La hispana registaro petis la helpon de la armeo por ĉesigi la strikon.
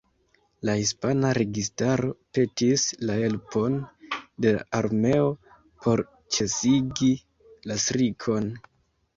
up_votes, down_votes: 2, 0